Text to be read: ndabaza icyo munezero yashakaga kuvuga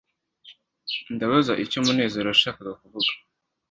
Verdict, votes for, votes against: accepted, 2, 0